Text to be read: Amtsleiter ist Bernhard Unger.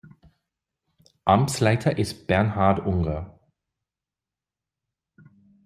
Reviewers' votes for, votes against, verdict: 2, 0, accepted